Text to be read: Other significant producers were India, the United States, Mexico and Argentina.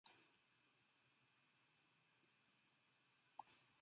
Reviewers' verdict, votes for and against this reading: rejected, 0, 2